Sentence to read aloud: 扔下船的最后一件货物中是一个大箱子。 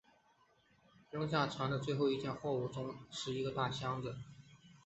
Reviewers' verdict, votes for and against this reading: accepted, 3, 1